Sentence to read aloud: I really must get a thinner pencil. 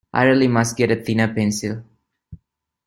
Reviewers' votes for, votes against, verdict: 0, 2, rejected